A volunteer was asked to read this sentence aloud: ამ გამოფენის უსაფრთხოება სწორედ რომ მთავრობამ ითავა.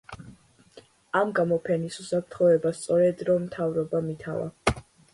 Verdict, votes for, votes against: accepted, 2, 0